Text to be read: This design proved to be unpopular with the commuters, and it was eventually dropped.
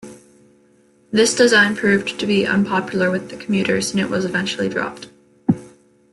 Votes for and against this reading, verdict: 2, 0, accepted